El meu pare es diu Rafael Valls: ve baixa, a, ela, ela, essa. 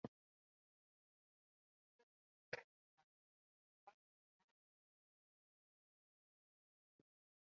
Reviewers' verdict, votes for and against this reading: rejected, 0, 2